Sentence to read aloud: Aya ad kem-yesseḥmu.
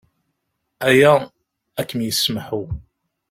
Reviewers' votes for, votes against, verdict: 1, 2, rejected